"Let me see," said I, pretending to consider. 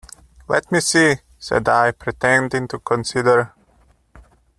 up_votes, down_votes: 2, 1